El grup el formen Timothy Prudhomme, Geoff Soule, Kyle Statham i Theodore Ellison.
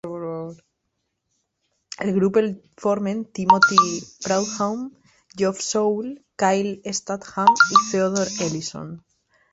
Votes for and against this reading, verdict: 0, 2, rejected